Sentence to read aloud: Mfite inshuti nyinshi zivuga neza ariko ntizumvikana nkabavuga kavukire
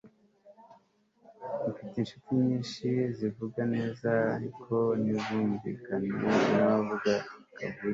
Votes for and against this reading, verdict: 2, 0, accepted